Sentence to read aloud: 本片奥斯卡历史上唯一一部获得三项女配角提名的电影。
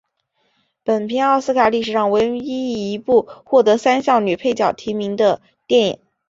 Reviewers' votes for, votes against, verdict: 3, 0, accepted